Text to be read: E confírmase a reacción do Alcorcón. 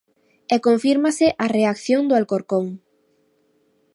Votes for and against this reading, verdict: 2, 0, accepted